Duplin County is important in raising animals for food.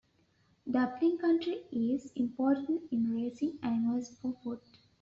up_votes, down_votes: 1, 2